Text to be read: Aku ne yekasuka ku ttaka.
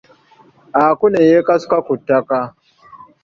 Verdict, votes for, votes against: accepted, 2, 1